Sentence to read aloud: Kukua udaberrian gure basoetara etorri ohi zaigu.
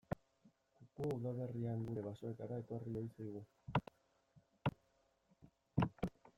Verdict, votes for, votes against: rejected, 1, 2